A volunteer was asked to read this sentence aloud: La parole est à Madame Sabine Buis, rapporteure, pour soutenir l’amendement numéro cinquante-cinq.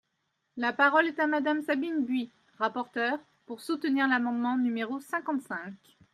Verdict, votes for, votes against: accepted, 2, 0